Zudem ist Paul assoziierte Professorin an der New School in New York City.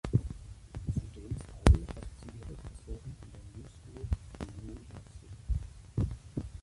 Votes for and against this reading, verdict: 0, 2, rejected